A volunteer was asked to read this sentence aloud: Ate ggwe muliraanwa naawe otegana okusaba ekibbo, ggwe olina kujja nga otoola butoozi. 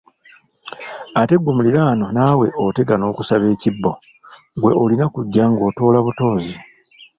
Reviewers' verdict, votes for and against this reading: rejected, 1, 2